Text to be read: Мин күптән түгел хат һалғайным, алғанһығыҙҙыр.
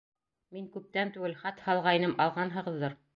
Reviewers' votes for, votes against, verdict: 2, 0, accepted